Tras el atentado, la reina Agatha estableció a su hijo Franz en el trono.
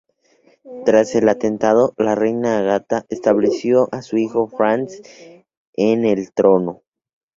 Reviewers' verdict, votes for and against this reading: accepted, 2, 0